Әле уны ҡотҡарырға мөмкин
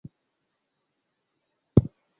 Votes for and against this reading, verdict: 0, 2, rejected